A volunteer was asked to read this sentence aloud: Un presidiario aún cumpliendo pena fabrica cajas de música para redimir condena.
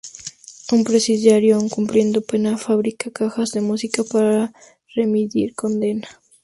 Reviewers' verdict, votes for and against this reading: rejected, 0, 4